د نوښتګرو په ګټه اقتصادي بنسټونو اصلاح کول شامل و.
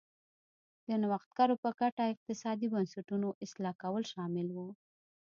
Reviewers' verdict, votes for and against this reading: accepted, 2, 0